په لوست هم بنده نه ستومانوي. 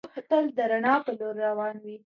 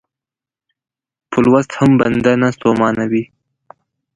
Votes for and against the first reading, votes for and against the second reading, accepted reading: 1, 2, 2, 0, second